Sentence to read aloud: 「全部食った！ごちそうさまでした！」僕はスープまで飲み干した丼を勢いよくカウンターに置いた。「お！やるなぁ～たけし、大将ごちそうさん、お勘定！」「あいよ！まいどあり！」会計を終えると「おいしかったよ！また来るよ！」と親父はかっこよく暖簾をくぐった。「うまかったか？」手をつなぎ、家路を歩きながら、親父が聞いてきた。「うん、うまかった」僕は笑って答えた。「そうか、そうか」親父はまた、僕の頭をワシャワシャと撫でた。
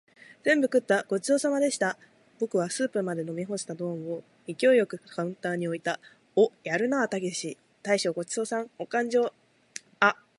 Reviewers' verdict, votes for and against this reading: rejected, 2, 2